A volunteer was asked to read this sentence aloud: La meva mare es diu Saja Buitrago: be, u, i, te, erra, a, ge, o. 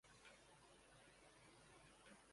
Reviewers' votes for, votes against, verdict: 0, 2, rejected